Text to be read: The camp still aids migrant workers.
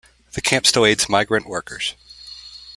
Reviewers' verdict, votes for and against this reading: accepted, 2, 0